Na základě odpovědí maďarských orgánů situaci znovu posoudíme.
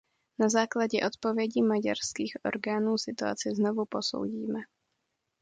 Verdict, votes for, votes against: accepted, 2, 0